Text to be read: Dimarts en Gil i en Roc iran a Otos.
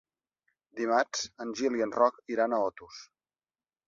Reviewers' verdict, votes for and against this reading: accepted, 3, 0